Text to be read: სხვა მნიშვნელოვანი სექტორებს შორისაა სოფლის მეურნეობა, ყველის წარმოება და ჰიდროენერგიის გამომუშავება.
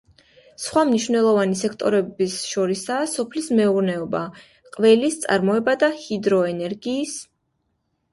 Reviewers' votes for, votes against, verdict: 0, 2, rejected